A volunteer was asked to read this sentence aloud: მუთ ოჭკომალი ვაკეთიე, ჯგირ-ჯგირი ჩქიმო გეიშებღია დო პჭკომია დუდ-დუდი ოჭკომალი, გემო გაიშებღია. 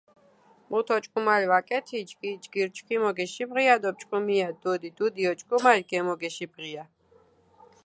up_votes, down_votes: 0, 2